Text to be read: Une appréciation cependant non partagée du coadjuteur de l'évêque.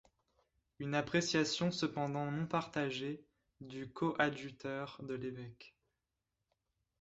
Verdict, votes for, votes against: accepted, 2, 0